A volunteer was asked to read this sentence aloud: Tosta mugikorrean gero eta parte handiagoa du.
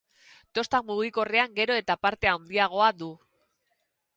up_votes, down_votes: 2, 2